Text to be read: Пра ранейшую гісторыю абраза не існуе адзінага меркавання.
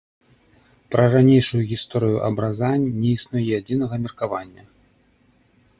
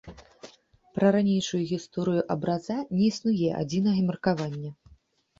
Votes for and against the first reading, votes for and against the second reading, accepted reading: 2, 1, 0, 2, first